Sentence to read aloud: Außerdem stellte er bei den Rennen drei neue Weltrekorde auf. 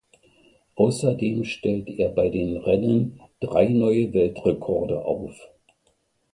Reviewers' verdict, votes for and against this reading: accepted, 2, 0